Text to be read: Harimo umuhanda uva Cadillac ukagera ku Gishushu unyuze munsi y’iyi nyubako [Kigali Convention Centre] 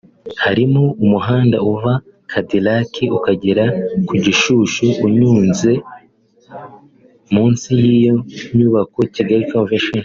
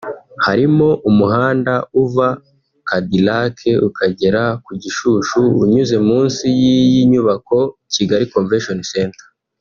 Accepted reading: second